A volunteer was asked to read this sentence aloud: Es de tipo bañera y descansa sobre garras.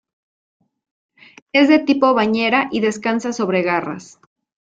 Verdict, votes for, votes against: accepted, 2, 0